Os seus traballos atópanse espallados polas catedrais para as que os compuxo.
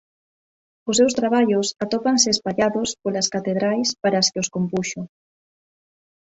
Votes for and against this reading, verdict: 2, 0, accepted